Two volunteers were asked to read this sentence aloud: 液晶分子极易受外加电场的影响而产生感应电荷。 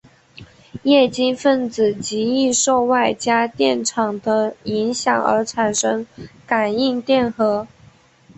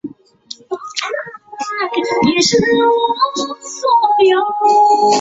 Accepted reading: first